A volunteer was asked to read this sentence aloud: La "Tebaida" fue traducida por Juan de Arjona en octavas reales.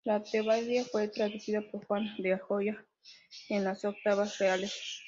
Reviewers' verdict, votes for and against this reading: rejected, 0, 2